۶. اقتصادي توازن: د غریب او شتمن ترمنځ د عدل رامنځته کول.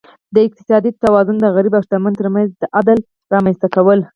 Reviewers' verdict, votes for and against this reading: rejected, 0, 2